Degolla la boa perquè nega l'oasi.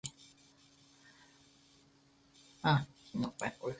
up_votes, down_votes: 2, 4